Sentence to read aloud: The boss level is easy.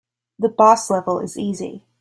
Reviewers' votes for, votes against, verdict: 3, 0, accepted